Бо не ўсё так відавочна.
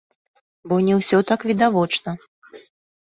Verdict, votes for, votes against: accepted, 2, 0